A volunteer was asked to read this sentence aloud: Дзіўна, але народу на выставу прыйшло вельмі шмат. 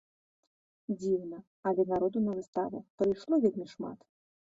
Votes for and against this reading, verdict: 0, 2, rejected